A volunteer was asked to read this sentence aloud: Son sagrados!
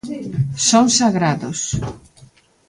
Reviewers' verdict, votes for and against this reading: rejected, 1, 2